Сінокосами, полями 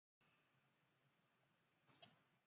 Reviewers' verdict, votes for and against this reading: rejected, 0, 2